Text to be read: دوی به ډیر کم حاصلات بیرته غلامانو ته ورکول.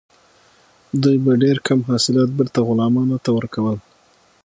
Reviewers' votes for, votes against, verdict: 6, 0, accepted